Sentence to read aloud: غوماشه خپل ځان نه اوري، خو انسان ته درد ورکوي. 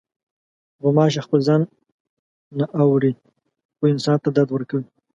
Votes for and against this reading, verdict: 2, 0, accepted